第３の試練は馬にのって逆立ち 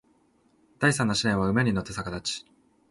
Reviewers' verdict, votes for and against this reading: rejected, 0, 2